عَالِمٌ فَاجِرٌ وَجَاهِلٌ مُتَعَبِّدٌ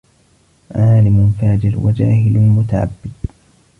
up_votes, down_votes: 0, 2